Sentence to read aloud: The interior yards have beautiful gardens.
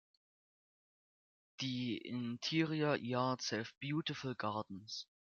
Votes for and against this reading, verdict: 2, 1, accepted